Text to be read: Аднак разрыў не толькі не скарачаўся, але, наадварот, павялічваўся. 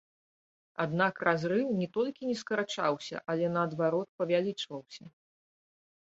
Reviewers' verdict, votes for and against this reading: rejected, 0, 2